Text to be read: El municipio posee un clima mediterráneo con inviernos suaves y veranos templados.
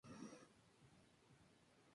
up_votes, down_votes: 0, 4